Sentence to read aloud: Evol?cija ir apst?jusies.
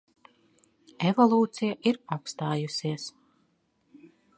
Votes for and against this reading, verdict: 1, 2, rejected